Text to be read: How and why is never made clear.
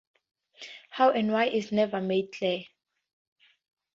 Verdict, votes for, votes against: accepted, 2, 0